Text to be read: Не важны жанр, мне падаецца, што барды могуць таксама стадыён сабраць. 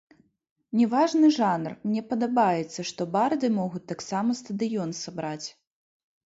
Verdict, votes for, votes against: rejected, 0, 3